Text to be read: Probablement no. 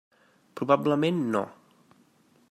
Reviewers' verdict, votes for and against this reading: accepted, 3, 0